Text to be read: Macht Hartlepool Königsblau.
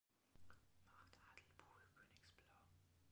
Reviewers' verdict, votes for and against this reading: accepted, 2, 0